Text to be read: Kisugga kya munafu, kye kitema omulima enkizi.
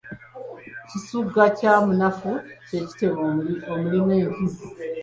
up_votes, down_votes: 1, 2